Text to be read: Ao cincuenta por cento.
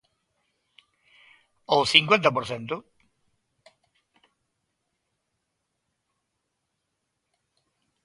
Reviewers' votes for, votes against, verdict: 2, 0, accepted